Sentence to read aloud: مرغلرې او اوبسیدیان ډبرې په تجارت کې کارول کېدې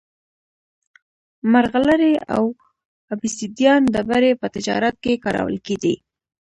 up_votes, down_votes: 2, 0